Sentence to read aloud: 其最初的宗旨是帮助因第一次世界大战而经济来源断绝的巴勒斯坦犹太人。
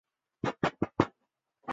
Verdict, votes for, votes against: rejected, 2, 5